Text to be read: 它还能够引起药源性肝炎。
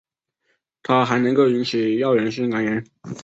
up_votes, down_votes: 3, 0